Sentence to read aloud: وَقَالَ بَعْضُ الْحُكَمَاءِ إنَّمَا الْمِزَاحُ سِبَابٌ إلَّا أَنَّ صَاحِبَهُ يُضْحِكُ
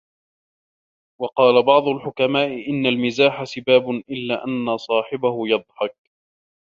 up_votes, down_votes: 1, 2